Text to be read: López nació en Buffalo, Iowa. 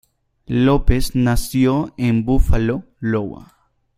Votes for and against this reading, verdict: 0, 2, rejected